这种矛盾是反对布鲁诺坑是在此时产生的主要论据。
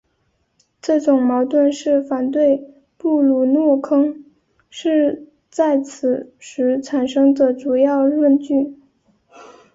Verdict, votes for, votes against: rejected, 3, 3